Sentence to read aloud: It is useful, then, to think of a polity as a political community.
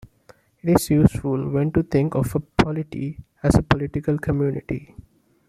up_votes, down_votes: 3, 1